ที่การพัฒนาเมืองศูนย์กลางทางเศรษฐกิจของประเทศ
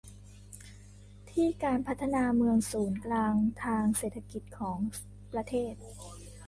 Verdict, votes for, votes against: rejected, 1, 2